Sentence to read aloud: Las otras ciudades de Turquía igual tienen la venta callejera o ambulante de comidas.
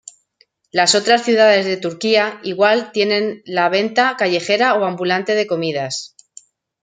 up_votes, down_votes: 2, 0